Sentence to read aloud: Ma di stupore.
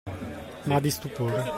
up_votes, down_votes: 1, 2